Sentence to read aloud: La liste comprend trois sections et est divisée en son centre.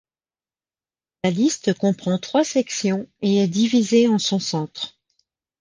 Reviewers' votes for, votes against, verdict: 2, 0, accepted